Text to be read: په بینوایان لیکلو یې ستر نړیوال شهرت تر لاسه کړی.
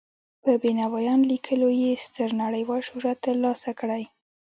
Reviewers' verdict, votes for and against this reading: accepted, 2, 0